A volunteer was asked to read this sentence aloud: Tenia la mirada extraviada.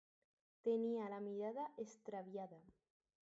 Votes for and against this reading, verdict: 0, 2, rejected